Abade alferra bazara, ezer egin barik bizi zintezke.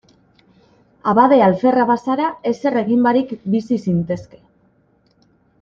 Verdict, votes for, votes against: accepted, 2, 0